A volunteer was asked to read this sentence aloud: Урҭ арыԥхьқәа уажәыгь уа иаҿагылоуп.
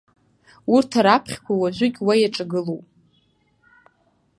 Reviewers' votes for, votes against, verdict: 1, 2, rejected